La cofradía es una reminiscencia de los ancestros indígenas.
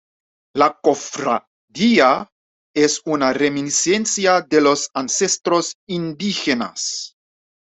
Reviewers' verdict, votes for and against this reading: accepted, 2, 0